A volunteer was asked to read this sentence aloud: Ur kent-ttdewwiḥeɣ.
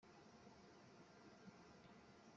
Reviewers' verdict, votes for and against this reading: rejected, 1, 2